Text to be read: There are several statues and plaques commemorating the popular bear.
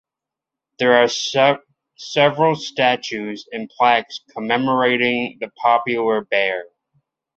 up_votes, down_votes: 0, 2